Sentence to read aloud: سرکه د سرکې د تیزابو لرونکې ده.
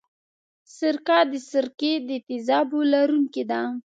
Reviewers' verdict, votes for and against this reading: accepted, 2, 0